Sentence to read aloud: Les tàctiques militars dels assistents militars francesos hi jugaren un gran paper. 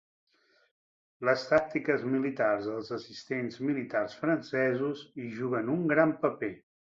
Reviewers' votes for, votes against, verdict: 0, 2, rejected